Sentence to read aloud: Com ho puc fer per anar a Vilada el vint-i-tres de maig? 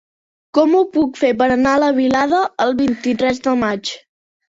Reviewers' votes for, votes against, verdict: 0, 3, rejected